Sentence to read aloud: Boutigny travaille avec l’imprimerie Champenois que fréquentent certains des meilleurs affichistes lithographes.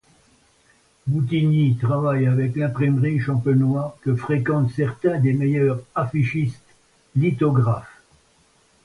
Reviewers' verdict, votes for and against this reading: accepted, 2, 0